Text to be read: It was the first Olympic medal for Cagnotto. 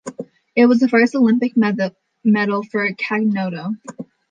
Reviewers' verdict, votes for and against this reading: rejected, 1, 2